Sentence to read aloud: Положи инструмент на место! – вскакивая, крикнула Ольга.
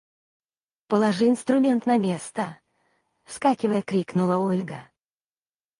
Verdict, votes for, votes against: rejected, 0, 4